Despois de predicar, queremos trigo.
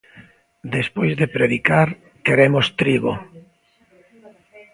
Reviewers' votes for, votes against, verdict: 2, 0, accepted